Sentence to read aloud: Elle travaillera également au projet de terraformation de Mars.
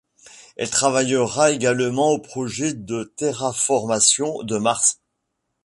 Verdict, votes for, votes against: accepted, 2, 0